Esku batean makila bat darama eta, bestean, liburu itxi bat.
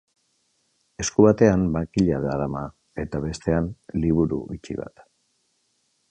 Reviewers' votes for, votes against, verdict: 0, 2, rejected